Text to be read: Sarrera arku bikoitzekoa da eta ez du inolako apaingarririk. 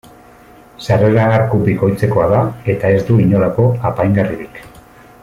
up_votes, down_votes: 2, 0